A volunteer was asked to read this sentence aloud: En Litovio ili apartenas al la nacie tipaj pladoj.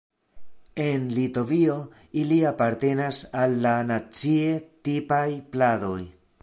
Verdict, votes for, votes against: accepted, 3, 0